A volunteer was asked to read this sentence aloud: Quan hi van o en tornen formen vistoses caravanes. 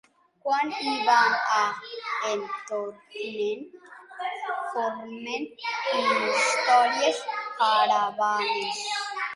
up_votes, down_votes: 0, 3